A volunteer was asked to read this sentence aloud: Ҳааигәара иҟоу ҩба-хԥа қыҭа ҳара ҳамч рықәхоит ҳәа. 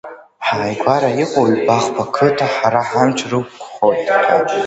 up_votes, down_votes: 2, 1